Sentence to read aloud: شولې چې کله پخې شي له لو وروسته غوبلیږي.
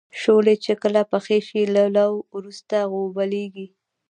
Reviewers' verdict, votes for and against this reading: rejected, 0, 2